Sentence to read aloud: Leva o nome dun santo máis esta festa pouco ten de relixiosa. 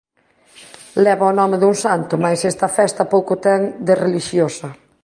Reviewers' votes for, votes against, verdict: 2, 0, accepted